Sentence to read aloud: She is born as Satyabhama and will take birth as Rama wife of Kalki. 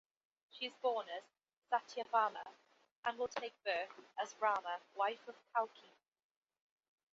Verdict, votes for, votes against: accepted, 2, 0